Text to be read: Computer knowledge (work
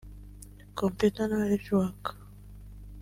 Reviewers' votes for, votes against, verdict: 0, 2, rejected